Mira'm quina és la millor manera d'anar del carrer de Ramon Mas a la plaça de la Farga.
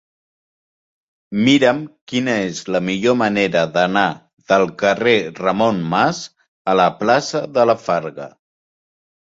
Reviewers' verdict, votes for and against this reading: rejected, 0, 2